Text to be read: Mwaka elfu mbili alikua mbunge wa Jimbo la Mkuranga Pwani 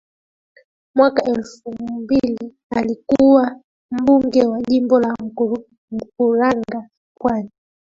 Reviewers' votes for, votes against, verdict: 2, 1, accepted